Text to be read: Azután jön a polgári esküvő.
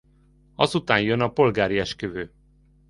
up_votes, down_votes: 2, 0